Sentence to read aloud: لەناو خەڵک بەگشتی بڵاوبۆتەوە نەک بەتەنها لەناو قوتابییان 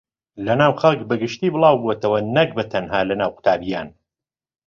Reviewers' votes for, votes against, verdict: 2, 0, accepted